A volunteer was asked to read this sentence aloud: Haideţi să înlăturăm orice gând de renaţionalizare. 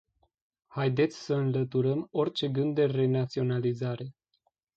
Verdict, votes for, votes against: accepted, 2, 0